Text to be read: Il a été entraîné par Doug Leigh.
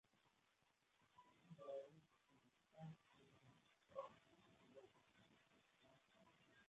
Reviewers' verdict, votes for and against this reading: rejected, 0, 2